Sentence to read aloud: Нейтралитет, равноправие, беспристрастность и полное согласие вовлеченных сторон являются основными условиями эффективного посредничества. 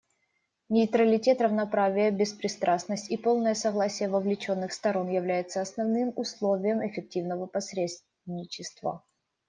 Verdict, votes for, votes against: rejected, 0, 2